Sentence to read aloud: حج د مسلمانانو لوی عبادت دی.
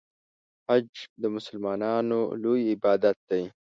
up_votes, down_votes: 2, 0